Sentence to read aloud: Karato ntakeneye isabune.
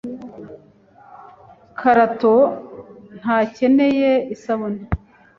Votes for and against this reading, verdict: 2, 0, accepted